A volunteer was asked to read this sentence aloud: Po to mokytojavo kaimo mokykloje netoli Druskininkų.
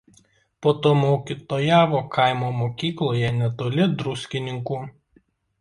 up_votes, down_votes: 2, 0